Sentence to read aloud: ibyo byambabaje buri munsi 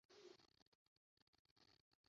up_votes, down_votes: 0, 2